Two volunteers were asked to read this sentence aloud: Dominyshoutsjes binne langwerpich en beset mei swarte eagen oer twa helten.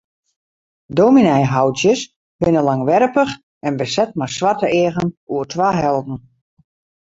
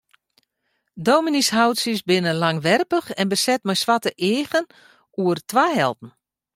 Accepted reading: second